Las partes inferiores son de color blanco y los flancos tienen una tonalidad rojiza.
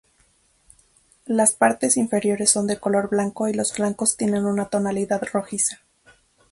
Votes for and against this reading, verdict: 2, 0, accepted